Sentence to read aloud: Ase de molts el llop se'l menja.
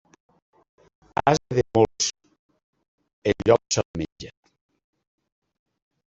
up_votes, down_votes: 1, 2